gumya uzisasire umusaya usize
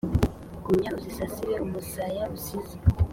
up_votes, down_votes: 2, 0